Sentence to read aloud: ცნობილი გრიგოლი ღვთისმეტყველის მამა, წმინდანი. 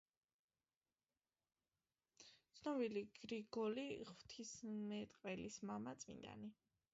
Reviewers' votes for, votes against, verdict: 2, 1, accepted